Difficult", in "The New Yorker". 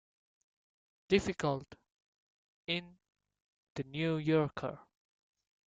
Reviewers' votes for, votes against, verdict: 2, 0, accepted